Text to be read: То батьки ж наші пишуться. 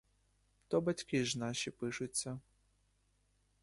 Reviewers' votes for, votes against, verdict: 2, 0, accepted